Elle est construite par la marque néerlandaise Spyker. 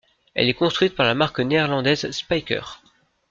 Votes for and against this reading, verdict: 2, 0, accepted